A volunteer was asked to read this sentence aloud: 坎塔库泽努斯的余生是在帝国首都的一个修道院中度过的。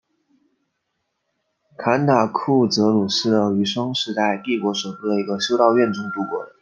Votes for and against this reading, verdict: 2, 1, accepted